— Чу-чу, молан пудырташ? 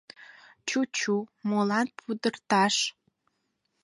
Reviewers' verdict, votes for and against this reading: accepted, 4, 0